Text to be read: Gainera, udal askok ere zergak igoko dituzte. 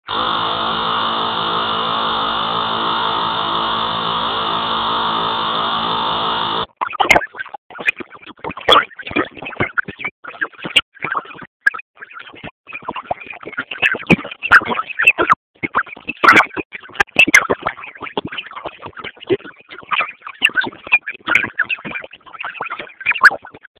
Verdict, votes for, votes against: rejected, 0, 6